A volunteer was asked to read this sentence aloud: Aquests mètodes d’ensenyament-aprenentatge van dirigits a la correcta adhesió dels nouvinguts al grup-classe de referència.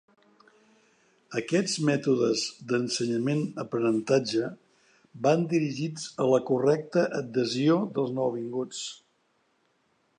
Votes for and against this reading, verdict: 0, 2, rejected